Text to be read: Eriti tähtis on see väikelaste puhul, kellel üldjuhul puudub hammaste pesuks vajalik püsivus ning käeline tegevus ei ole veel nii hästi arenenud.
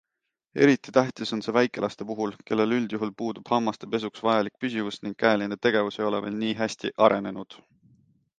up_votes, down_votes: 2, 0